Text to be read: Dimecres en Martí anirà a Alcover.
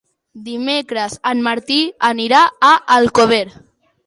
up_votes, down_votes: 2, 0